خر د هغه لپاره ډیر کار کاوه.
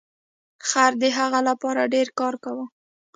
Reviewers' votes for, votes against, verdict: 2, 0, accepted